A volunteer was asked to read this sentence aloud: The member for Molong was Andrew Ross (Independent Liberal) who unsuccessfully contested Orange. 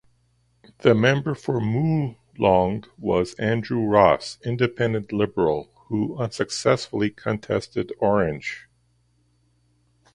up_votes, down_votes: 2, 0